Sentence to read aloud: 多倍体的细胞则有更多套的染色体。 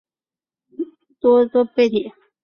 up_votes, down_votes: 0, 3